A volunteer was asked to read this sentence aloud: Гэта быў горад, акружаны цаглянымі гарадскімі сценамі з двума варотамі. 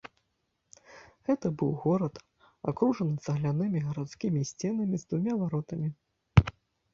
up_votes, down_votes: 1, 2